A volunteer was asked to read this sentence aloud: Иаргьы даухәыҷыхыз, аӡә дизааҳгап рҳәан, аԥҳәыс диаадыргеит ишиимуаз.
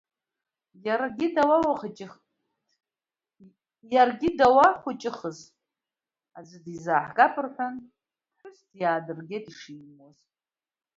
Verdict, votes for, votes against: accepted, 2, 1